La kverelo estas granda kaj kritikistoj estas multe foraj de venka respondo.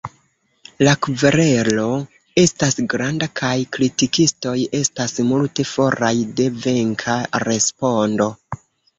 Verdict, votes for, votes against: rejected, 0, 2